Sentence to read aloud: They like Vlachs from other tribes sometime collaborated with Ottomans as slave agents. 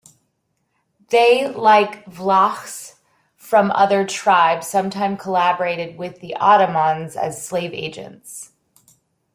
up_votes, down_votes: 3, 1